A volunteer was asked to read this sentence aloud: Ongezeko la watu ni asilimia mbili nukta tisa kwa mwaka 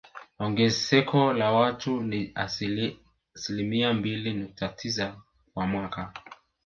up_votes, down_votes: 1, 2